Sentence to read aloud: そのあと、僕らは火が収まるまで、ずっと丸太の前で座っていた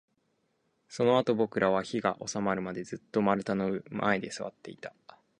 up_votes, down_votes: 2, 0